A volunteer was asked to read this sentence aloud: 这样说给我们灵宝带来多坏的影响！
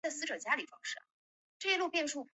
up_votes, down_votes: 2, 0